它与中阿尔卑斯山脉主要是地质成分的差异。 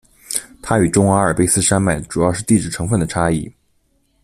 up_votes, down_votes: 2, 0